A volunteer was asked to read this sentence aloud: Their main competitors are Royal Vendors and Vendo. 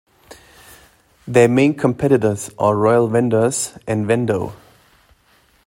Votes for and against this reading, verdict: 2, 0, accepted